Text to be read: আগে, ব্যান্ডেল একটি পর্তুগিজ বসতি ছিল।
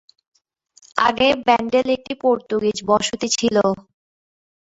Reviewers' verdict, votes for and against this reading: accepted, 4, 3